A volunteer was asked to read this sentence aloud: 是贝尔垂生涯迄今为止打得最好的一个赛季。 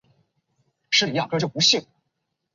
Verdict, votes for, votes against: rejected, 0, 2